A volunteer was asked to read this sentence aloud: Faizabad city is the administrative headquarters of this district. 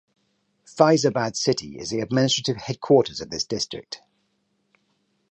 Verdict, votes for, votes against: accepted, 4, 0